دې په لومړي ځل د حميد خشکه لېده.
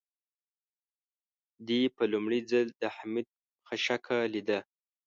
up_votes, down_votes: 1, 2